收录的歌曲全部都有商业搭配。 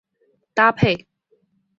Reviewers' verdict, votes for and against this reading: rejected, 0, 3